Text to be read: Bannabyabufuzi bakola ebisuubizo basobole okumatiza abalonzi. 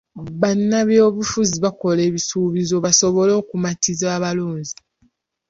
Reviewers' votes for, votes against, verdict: 0, 2, rejected